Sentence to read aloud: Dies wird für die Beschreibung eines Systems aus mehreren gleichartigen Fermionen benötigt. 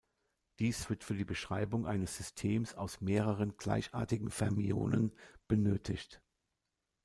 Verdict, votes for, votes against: accepted, 2, 0